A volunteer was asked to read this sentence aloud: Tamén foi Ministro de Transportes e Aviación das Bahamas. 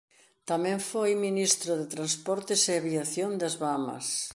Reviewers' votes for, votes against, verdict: 2, 0, accepted